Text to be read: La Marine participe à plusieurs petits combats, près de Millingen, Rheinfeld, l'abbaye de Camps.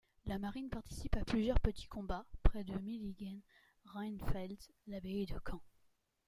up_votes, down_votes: 1, 2